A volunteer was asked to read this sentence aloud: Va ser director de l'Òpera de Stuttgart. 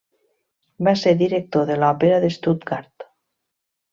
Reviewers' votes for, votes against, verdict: 2, 0, accepted